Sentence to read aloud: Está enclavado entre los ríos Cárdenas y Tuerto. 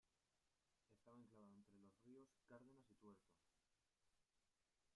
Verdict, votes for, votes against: rejected, 0, 2